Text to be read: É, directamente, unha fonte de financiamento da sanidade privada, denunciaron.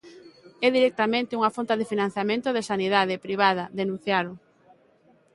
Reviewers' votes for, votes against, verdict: 2, 1, accepted